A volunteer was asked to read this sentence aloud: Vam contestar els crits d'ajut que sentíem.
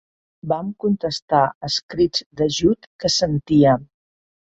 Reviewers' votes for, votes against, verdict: 0, 2, rejected